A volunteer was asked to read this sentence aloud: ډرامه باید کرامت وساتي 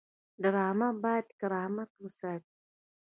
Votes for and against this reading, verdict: 1, 2, rejected